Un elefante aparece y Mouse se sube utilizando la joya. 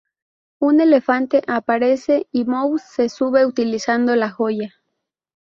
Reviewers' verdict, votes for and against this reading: accepted, 4, 0